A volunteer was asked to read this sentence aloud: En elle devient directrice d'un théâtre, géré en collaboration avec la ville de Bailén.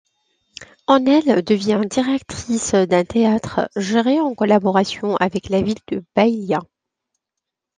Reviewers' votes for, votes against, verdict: 0, 2, rejected